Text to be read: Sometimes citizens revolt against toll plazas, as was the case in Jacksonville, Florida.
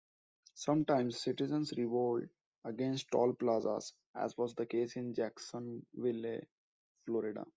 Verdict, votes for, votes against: rejected, 1, 2